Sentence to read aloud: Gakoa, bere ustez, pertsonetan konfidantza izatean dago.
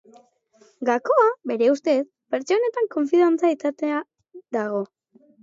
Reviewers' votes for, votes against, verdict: 0, 2, rejected